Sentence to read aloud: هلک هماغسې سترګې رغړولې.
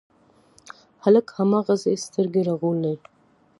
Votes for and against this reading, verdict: 1, 2, rejected